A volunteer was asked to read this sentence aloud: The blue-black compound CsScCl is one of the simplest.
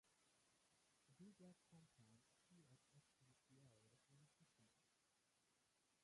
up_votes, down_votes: 0, 2